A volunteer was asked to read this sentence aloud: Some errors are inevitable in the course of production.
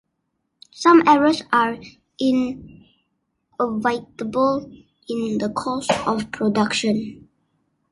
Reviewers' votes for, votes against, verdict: 0, 2, rejected